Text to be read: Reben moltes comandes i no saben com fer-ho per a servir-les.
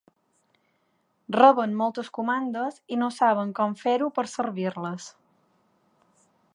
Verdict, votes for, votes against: rejected, 0, 2